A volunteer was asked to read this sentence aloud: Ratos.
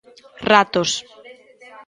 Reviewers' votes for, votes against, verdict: 0, 2, rejected